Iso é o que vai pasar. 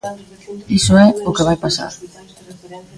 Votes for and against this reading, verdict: 1, 2, rejected